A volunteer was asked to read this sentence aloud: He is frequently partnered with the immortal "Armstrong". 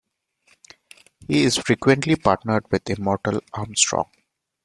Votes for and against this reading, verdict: 1, 2, rejected